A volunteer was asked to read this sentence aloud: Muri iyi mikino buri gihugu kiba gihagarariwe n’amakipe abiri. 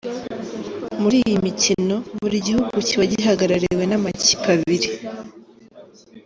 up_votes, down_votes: 1, 2